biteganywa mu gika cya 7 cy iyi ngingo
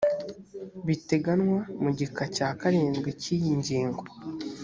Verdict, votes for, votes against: rejected, 0, 2